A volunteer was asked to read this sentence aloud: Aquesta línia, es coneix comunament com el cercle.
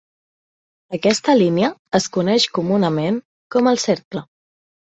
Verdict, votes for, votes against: accepted, 3, 0